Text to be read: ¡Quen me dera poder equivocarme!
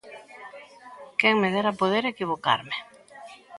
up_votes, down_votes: 2, 0